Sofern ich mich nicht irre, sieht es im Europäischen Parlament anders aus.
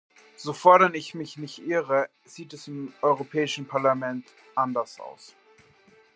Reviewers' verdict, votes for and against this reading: rejected, 0, 2